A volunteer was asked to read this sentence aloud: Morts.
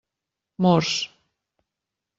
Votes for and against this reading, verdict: 1, 2, rejected